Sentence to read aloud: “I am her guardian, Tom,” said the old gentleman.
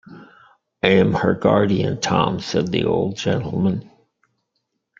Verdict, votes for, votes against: accepted, 2, 1